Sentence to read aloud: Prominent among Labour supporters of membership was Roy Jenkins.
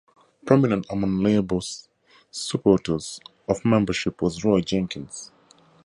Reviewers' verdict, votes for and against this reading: rejected, 0, 2